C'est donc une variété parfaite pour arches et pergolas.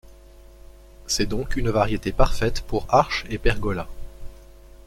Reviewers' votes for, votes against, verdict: 2, 1, accepted